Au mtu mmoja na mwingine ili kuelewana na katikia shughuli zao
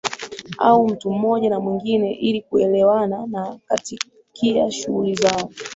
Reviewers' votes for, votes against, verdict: 2, 0, accepted